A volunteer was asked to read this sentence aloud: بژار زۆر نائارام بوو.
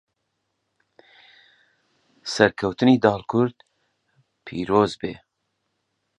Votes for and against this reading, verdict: 0, 2, rejected